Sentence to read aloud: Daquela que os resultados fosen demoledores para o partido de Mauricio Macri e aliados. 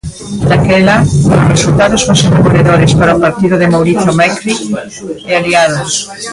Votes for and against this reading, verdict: 0, 2, rejected